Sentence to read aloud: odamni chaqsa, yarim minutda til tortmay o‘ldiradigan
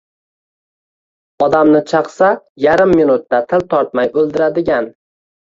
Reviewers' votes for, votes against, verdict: 1, 2, rejected